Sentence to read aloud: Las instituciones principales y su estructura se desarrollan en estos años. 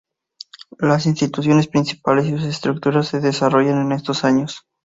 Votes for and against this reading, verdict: 0, 2, rejected